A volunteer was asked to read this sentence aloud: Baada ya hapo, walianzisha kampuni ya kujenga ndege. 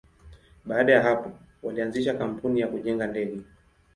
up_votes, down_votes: 2, 0